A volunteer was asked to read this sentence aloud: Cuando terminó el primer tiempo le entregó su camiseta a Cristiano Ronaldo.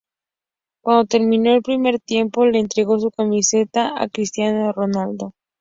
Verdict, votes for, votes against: accepted, 2, 0